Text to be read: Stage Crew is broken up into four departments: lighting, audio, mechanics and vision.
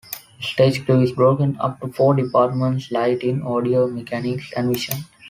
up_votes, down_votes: 3, 2